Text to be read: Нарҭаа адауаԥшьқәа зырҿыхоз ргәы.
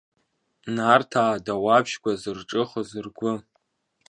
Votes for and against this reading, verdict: 2, 1, accepted